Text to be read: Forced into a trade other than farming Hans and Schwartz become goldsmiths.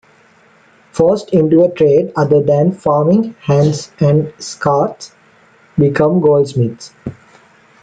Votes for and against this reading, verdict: 1, 2, rejected